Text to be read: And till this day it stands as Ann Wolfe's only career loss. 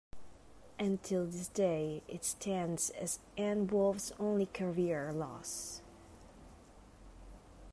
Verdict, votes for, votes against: accepted, 2, 0